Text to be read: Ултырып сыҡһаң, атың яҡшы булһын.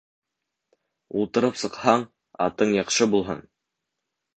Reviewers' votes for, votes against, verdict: 2, 0, accepted